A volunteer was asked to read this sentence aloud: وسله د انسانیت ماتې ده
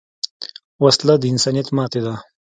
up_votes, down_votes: 2, 1